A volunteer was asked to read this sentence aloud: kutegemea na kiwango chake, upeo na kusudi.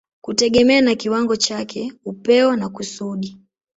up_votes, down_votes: 2, 0